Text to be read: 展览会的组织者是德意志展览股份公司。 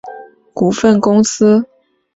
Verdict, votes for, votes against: rejected, 1, 2